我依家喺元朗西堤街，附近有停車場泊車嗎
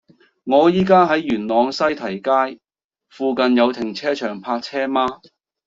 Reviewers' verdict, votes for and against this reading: accepted, 2, 0